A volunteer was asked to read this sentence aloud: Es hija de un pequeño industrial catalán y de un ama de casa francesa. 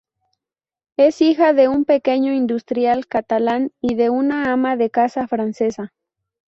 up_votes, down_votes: 2, 2